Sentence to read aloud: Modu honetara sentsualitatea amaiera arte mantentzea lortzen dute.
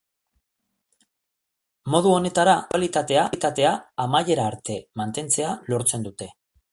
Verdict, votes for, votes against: rejected, 0, 2